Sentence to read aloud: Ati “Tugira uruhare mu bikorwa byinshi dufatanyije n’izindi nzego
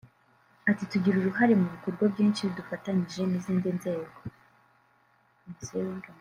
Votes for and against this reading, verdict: 0, 2, rejected